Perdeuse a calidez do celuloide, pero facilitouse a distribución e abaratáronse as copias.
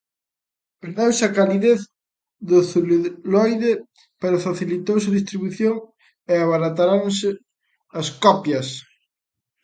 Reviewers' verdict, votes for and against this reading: rejected, 0, 3